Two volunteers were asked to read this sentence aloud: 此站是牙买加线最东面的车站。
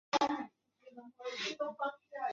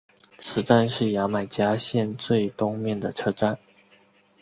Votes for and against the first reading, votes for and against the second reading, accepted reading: 2, 3, 4, 0, second